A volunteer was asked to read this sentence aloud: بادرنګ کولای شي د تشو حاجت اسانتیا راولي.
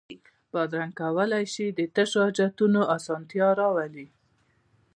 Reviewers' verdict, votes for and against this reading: rejected, 1, 2